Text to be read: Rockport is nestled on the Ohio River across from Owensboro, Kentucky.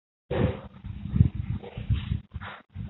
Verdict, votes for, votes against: rejected, 0, 2